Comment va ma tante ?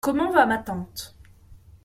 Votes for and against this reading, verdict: 2, 0, accepted